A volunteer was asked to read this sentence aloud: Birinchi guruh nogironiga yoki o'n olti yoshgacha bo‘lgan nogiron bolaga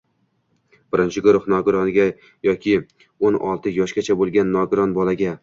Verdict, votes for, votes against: accepted, 2, 1